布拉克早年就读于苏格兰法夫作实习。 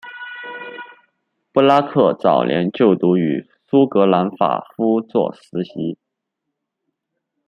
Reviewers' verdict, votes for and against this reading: accepted, 2, 0